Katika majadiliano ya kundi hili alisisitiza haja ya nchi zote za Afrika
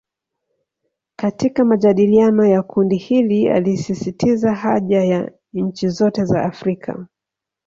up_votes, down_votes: 1, 2